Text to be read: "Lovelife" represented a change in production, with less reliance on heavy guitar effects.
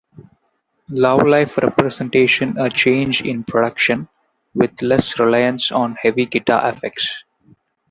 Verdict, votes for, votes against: rejected, 0, 2